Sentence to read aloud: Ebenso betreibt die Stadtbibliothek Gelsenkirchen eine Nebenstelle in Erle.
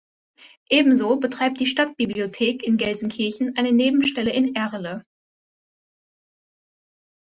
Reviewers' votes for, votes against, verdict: 0, 2, rejected